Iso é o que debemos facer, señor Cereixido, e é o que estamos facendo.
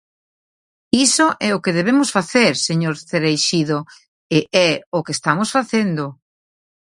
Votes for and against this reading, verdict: 2, 0, accepted